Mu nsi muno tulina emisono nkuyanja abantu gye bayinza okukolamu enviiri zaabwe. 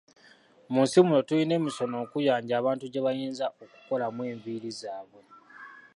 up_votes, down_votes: 2, 1